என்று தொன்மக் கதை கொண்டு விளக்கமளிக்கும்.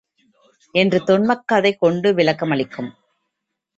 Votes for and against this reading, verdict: 2, 0, accepted